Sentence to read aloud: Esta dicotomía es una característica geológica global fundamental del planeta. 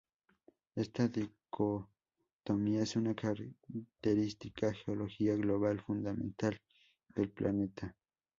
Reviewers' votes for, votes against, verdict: 0, 2, rejected